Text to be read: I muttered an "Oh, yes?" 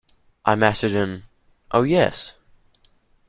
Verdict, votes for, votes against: accepted, 2, 1